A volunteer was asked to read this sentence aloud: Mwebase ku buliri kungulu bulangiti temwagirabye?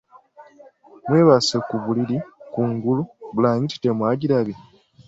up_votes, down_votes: 2, 1